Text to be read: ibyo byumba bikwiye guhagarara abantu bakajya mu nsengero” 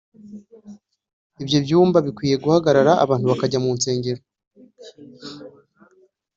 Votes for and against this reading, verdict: 2, 0, accepted